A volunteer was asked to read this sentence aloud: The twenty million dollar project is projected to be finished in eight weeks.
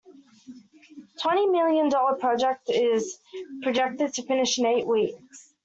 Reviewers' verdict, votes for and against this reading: rejected, 1, 2